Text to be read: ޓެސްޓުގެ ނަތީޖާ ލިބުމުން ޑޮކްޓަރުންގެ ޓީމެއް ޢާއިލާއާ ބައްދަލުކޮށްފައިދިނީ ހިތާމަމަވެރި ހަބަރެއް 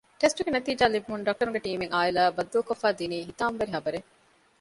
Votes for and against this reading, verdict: 1, 2, rejected